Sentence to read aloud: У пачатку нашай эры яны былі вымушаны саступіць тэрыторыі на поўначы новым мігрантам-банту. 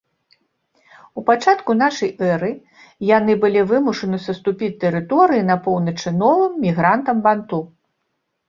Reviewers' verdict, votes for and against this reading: accepted, 2, 0